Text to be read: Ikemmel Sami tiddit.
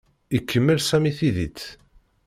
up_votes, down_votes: 1, 2